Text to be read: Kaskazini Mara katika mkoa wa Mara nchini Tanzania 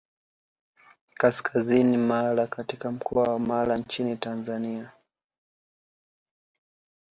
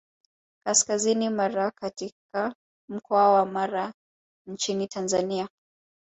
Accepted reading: second